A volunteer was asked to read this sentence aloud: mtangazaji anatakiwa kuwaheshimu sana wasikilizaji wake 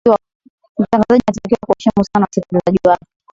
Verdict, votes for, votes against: rejected, 0, 2